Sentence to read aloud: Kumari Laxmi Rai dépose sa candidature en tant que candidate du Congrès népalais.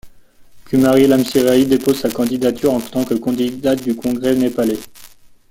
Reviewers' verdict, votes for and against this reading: rejected, 0, 2